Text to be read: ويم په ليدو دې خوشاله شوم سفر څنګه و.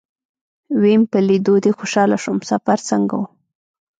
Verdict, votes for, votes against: rejected, 1, 2